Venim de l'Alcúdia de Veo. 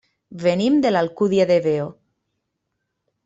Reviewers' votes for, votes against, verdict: 3, 0, accepted